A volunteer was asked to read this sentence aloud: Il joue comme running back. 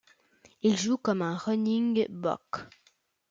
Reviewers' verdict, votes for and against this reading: rejected, 1, 2